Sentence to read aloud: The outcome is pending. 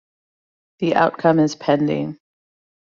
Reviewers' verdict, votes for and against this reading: accepted, 2, 0